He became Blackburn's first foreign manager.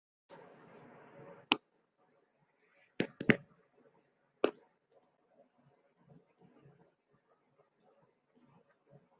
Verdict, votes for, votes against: rejected, 0, 2